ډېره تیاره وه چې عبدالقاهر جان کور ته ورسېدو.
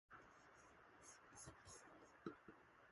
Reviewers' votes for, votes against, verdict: 0, 2, rejected